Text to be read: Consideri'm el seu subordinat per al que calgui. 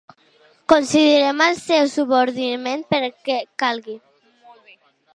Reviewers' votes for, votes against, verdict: 0, 2, rejected